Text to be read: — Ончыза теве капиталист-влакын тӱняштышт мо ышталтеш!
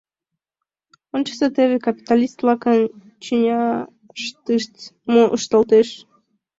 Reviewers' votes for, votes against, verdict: 1, 2, rejected